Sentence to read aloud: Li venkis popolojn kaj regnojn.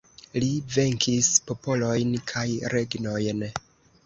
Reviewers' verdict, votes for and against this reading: rejected, 2, 3